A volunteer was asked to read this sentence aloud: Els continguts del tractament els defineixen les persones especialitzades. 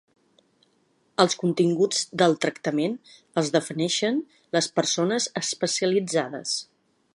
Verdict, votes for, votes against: rejected, 1, 2